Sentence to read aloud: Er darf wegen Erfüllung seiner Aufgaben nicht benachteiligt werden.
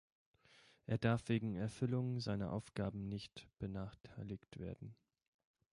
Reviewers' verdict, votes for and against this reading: accepted, 2, 0